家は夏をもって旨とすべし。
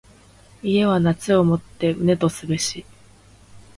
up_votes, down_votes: 2, 0